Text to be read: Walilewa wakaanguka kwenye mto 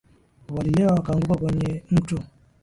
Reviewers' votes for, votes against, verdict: 4, 0, accepted